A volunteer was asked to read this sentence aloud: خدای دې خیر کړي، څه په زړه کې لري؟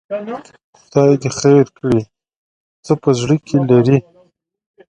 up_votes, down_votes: 1, 2